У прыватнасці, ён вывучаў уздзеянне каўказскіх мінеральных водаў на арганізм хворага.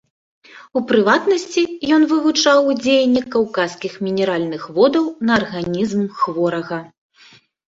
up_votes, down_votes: 0, 2